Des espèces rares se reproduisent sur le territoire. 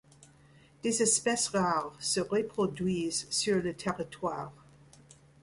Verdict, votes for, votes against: accepted, 2, 0